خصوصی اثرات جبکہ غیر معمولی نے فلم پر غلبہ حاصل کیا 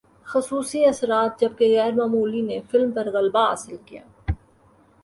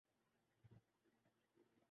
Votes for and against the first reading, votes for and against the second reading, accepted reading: 2, 0, 0, 2, first